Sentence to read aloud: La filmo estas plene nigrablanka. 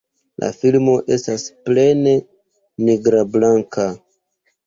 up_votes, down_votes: 2, 0